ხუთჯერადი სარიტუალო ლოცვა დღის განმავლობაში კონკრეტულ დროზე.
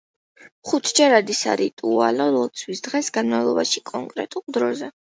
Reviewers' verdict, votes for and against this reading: accepted, 2, 0